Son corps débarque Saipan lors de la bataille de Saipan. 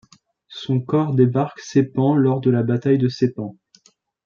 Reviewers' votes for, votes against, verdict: 1, 2, rejected